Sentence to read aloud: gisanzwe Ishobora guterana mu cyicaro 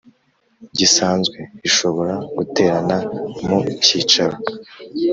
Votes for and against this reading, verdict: 3, 0, accepted